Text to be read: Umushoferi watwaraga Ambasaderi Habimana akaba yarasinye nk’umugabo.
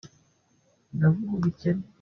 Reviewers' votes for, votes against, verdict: 0, 2, rejected